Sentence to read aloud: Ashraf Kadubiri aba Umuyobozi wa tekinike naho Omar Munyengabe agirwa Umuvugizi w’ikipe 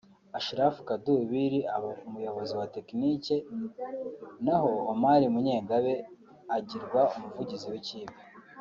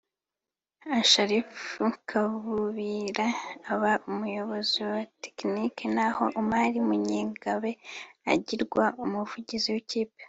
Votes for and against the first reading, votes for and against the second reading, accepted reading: 2, 1, 1, 3, first